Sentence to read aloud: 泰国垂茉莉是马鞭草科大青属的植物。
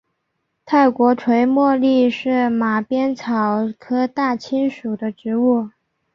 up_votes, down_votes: 4, 1